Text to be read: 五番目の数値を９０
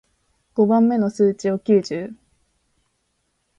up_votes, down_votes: 0, 2